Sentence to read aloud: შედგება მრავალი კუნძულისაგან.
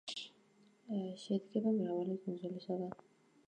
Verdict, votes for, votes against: rejected, 1, 2